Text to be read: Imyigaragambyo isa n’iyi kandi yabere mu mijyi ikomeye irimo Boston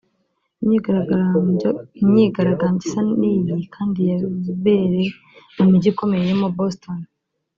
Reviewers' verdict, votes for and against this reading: rejected, 0, 2